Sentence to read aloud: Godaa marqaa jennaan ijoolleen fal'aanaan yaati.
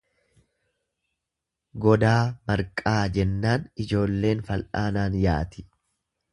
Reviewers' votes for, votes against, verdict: 2, 0, accepted